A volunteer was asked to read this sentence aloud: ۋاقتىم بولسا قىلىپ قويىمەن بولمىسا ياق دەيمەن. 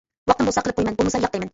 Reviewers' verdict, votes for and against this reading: rejected, 0, 2